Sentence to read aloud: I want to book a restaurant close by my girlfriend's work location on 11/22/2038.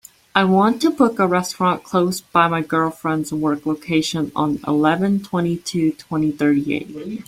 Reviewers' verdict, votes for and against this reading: rejected, 0, 2